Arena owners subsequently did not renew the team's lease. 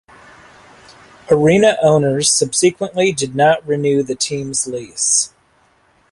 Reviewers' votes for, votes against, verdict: 2, 0, accepted